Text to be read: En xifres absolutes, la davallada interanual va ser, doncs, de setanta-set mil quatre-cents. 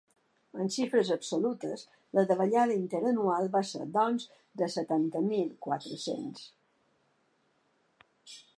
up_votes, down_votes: 1, 2